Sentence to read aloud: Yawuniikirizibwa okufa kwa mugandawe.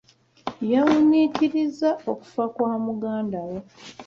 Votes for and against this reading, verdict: 0, 2, rejected